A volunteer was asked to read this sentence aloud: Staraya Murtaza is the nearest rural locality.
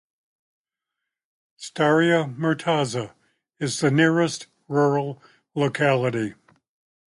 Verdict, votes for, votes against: rejected, 0, 2